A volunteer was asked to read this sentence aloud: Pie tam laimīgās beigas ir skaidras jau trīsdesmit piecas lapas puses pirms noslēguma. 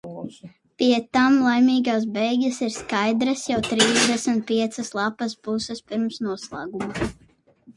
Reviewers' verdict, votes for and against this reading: rejected, 0, 16